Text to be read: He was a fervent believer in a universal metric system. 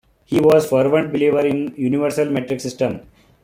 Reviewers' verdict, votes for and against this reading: rejected, 0, 2